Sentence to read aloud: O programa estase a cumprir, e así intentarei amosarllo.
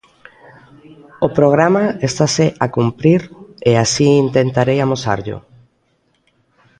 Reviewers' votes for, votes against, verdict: 2, 0, accepted